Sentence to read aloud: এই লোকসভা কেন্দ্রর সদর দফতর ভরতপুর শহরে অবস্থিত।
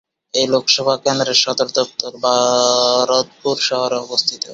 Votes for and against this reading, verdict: 0, 2, rejected